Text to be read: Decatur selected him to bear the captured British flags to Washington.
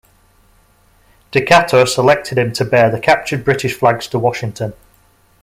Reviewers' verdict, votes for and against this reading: accepted, 2, 0